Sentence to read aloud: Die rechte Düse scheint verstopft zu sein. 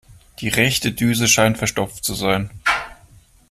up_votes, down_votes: 2, 0